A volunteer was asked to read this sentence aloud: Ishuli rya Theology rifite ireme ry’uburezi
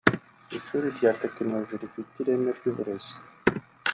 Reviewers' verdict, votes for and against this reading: rejected, 1, 2